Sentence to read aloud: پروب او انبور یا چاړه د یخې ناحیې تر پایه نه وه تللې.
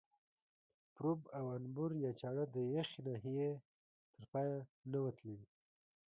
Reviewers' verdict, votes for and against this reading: accepted, 2, 0